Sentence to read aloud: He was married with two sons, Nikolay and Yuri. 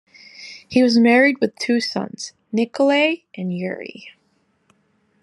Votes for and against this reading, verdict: 2, 1, accepted